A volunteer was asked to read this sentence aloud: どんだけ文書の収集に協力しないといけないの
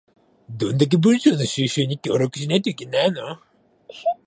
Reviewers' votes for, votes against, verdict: 2, 1, accepted